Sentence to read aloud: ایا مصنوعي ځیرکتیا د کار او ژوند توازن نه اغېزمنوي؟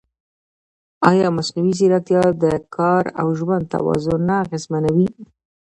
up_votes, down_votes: 0, 2